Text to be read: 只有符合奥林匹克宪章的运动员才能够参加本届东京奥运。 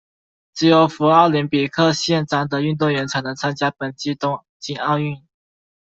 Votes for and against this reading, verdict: 0, 2, rejected